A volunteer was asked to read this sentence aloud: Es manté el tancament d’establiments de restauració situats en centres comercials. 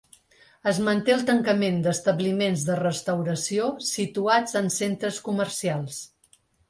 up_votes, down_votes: 3, 0